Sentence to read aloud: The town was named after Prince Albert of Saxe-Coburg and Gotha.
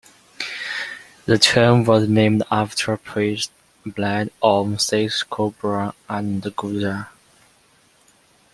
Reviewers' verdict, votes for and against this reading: rejected, 0, 2